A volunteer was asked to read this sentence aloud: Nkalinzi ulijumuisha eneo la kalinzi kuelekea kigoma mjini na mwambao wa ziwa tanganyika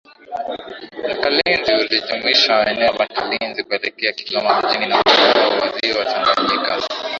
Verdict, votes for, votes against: rejected, 0, 4